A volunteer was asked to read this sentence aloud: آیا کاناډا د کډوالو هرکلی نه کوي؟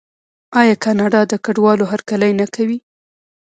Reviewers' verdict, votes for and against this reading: accepted, 2, 0